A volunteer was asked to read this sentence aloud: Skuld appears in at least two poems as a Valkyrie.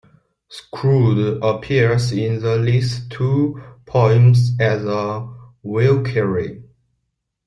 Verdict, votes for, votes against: accepted, 2, 1